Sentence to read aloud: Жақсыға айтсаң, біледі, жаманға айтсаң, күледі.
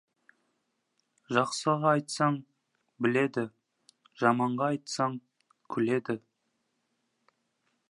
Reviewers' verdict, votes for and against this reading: accepted, 2, 0